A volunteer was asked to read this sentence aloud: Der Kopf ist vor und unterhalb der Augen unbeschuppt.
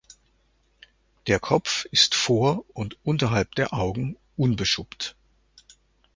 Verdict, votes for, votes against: accepted, 2, 0